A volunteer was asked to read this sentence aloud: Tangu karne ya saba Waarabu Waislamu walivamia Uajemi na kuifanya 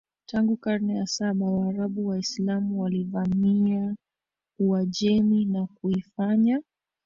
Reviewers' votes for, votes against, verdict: 1, 2, rejected